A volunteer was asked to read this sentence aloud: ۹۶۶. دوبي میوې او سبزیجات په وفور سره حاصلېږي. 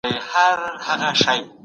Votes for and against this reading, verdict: 0, 2, rejected